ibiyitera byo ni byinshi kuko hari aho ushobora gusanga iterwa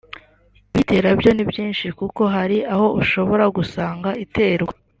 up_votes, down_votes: 0, 2